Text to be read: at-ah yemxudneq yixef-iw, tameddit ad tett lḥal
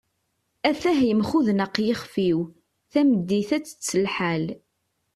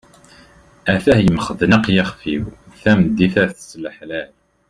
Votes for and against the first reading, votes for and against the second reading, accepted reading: 2, 0, 1, 2, first